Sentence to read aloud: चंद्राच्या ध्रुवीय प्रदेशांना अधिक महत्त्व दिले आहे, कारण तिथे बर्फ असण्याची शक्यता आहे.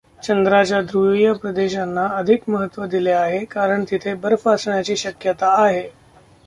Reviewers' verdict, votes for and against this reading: rejected, 0, 2